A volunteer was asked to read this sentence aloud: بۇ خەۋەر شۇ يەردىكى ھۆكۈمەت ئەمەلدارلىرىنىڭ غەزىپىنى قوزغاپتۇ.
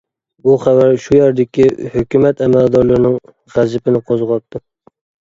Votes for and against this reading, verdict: 2, 0, accepted